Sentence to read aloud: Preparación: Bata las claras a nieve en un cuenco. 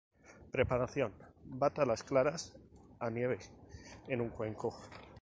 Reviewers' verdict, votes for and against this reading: rejected, 2, 2